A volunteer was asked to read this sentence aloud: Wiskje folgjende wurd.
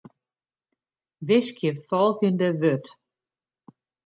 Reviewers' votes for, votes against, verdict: 2, 0, accepted